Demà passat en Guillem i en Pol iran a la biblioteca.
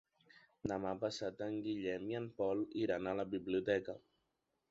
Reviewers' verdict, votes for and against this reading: accepted, 3, 0